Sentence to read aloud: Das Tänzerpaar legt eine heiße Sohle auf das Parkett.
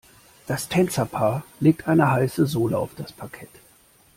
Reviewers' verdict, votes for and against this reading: accepted, 2, 0